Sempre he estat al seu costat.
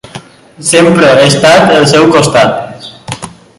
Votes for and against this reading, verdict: 3, 0, accepted